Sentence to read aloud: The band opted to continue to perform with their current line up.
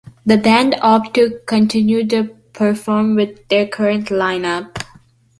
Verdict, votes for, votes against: accepted, 2, 0